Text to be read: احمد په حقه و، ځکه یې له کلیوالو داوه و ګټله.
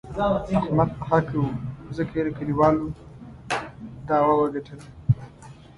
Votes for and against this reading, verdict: 0, 2, rejected